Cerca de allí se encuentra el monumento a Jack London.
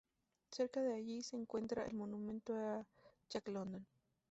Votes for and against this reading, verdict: 0, 2, rejected